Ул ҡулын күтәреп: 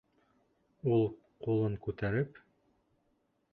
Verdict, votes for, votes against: accepted, 3, 0